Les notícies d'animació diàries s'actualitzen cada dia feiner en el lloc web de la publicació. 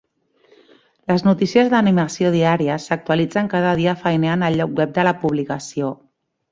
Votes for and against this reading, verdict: 3, 0, accepted